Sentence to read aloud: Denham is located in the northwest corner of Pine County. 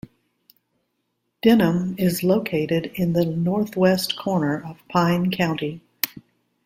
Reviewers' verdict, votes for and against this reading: accepted, 2, 0